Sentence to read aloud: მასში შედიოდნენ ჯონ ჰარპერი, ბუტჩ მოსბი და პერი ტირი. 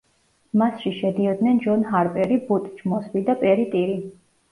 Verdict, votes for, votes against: rejected, 0, 2